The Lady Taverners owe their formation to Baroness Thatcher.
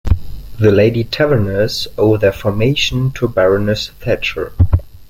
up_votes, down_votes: 2, 0